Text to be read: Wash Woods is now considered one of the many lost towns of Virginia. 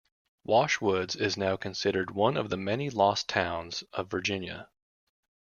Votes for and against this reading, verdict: 2, 0, accepted